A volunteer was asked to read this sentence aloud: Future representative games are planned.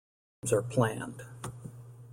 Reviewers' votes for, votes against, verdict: 0, 2, rejected